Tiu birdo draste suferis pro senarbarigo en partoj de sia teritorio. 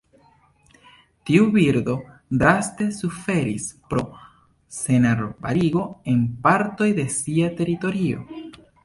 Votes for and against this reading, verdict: 2, 0, accepted